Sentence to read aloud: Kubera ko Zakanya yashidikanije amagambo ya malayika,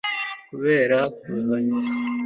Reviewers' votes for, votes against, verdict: 0, 2, rejected